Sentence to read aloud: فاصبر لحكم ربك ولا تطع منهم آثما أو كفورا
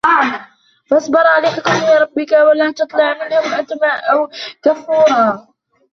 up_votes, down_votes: 0, 2